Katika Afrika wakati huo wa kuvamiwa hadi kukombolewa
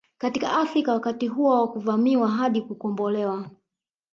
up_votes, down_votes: 0, 3